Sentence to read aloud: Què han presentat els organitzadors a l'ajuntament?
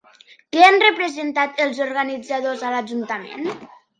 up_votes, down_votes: 0, 2